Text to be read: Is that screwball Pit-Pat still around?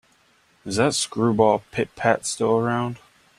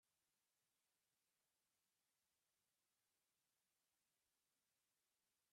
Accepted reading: first